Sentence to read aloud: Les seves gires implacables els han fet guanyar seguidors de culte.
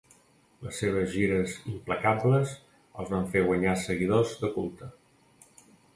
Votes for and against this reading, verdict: 0, 2, rejected